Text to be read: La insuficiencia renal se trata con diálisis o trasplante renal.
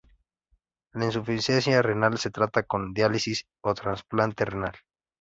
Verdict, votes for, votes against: accepted, 2, 0